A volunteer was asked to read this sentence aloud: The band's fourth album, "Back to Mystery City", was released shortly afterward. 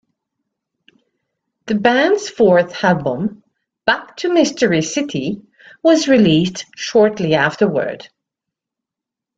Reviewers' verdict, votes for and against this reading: accepted, 2, 1